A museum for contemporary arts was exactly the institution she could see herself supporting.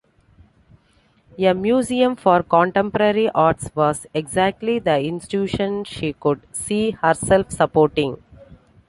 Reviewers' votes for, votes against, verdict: 2, 1, accepted